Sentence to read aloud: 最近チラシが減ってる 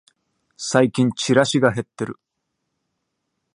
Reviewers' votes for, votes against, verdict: 2, 0, accepted